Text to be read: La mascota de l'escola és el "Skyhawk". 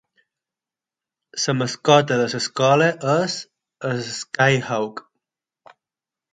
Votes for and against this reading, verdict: 0, 6, rejected